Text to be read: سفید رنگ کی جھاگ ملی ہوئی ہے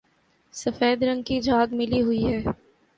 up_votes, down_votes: 2, 0